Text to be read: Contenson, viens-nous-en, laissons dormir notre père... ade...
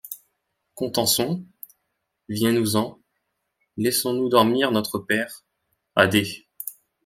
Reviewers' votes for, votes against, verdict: 0, 2, rejected